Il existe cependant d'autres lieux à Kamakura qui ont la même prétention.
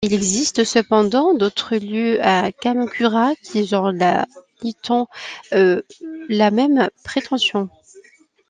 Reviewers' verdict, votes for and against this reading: rejected, 1, 2